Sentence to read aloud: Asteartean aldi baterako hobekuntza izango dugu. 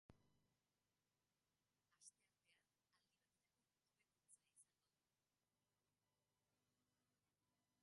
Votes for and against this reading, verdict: 0, 2, rejected